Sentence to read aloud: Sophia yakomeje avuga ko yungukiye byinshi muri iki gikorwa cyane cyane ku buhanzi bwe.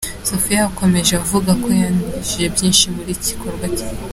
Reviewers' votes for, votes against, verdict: 0, 2, rejected